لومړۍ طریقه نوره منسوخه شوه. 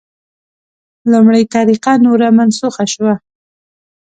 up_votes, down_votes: 2, 0